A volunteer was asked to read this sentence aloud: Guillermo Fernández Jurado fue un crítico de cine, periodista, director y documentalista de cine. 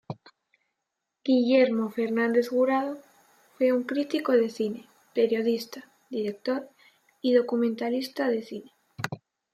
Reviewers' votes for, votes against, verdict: 0, 2, rejected